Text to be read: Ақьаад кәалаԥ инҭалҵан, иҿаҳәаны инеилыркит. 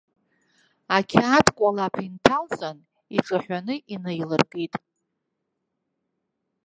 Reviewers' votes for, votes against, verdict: 0, 2, rejected